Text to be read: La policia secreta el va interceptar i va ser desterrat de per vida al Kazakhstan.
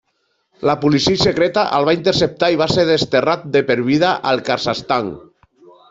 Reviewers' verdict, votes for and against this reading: rejected, 1, 2